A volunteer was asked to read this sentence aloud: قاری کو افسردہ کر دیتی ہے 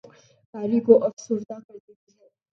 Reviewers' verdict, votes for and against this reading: rejected, 0, 2